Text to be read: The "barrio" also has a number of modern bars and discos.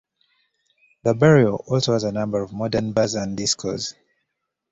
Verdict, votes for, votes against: accepted, 2, 0